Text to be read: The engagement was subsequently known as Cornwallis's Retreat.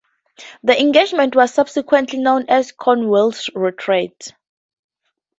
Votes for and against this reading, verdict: 4, 2, accepted